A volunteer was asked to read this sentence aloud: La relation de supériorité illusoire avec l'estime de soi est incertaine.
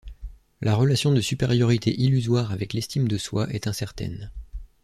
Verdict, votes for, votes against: accepted, 2, 0